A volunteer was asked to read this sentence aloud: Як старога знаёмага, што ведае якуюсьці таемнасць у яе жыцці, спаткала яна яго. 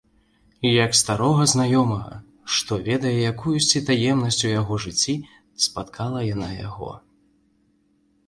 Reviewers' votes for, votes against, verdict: 2, 3, rejected